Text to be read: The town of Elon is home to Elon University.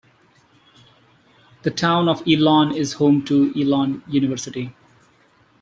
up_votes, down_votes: 2, 1